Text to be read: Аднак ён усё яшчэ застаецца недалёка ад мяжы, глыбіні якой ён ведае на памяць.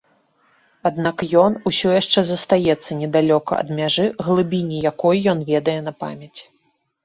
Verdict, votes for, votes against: rejected, 0, 2